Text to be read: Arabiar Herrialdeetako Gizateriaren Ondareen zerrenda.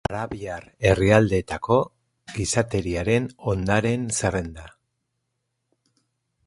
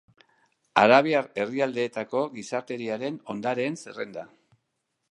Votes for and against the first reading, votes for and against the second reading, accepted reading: 0, 4, 2, 0, second